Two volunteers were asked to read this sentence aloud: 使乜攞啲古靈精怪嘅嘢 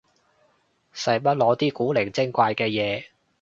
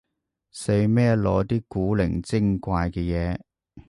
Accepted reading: first